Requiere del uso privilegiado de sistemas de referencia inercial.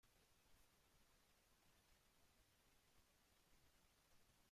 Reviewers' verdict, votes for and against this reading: rejected, 0, 3